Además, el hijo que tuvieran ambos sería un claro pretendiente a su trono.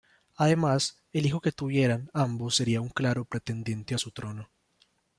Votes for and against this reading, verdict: 2, 0, accepted